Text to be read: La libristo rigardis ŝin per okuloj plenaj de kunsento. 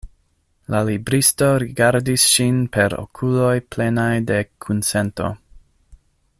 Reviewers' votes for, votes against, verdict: 2, 0, accepted